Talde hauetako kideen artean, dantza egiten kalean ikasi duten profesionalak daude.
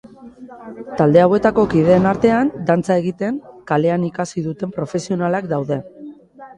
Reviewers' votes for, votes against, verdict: 2, 0, accepted